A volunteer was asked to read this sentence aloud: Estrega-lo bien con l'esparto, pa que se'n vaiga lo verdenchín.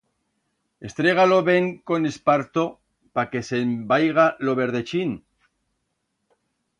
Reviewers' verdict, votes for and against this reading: rejected, 1, 2